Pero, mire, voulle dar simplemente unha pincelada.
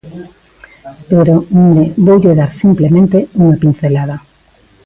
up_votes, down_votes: 0, 2